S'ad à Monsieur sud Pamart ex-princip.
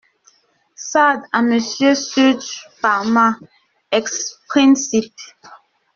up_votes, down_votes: 0, 2